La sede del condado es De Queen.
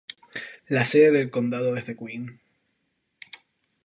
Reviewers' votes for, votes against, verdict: 2, 2, rejected